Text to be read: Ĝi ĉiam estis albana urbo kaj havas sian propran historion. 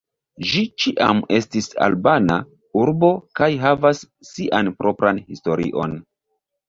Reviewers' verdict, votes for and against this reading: accepted, 3, 2